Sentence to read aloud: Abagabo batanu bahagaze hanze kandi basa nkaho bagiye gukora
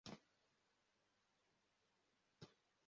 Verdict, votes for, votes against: rejected, 0, 2